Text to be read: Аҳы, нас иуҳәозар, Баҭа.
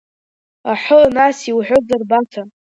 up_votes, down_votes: 2, 1